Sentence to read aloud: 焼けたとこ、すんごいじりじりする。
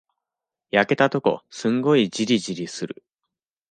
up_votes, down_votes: 2, 0